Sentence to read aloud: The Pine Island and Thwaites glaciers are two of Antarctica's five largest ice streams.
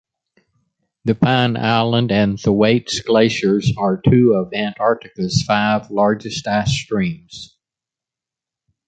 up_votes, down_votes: 2, 1